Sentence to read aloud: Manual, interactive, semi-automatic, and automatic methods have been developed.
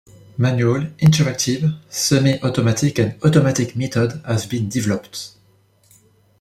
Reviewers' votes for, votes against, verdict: 0, 2, rejected